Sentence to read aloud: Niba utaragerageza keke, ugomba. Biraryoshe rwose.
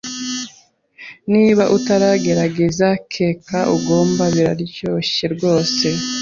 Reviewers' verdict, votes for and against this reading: rejected, 0, 2